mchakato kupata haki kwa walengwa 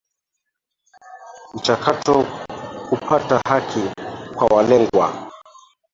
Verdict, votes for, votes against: rejected, 0, 2